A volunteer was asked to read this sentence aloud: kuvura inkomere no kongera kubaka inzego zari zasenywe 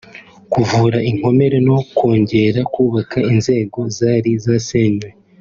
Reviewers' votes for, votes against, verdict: 3, 0, accepted